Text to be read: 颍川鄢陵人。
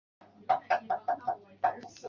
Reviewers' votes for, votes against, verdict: 0, 3, rejected